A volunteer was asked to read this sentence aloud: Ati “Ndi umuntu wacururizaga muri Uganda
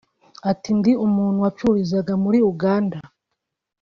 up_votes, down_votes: 4, 0